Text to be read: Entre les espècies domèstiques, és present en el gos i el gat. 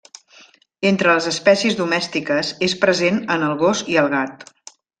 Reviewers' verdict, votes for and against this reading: accepted, 3, 0